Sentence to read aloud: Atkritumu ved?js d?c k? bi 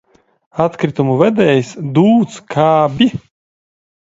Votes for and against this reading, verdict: 1, 2, rejected